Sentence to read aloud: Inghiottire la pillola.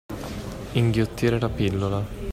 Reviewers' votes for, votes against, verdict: 2, 0, accepted